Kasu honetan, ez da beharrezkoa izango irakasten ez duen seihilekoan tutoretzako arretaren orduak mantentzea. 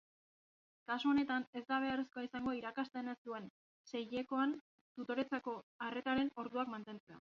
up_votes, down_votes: 1, 2